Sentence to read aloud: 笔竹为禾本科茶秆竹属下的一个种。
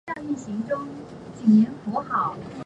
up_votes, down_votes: 1, 3